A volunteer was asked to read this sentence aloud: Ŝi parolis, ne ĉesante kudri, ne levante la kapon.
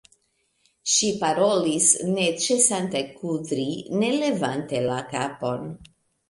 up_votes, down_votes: 2, 1